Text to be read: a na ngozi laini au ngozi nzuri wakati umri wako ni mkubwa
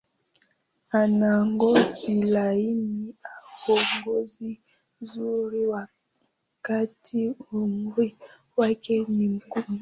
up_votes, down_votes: 0, 2